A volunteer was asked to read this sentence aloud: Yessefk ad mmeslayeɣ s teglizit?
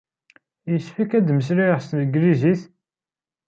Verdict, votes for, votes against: rejected, 1, 2